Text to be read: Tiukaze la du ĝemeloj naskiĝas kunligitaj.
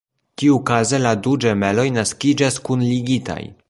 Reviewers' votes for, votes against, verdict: 2, 0, accepted